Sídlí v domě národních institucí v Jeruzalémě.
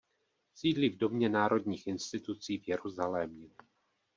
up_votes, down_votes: 2, 0